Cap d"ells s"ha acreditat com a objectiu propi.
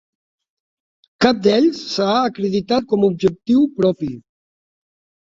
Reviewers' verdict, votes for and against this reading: rejected, 0, 2